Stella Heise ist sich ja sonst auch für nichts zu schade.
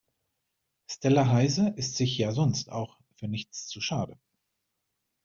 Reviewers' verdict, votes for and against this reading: accepted, 2, 0